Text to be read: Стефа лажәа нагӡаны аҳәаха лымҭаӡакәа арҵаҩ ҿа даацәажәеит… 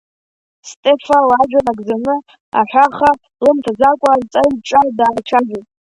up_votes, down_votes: 1, 2